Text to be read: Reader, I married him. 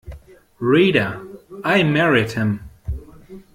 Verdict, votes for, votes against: accepted, 2, 0